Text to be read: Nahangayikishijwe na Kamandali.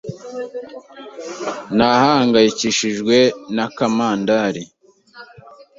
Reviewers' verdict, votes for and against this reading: accepted, 2, 0